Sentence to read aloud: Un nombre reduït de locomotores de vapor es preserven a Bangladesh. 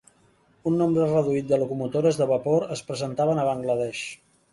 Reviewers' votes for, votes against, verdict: 0, 2, rejected